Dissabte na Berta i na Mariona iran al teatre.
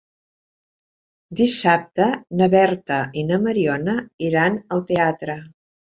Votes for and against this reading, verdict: 3, 0, accepted